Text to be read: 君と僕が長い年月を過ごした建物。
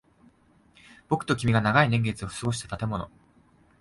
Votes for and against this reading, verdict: 1, 2, rejected